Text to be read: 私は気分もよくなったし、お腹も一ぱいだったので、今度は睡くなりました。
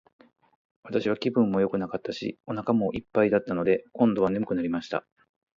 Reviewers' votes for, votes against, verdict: 4, 4, rejected